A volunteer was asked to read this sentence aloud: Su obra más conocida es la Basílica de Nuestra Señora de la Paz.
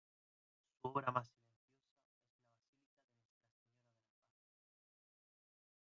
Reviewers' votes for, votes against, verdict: 0, 2, rejected